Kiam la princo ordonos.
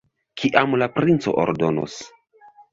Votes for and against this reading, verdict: 2, 0, accepted